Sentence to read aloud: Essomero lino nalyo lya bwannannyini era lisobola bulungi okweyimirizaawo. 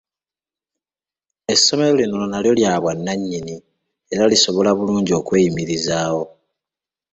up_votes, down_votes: 2, 0